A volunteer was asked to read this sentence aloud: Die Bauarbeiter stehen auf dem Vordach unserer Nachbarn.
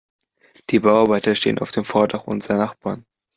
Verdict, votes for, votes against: accepted, 2, 0